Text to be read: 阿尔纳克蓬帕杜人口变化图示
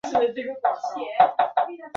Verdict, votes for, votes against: rejected, 0, 2